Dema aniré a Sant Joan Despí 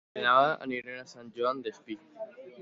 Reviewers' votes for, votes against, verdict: 2, 1, accepted